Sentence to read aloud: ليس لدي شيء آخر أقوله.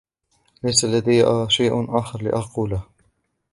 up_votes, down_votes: 1, 2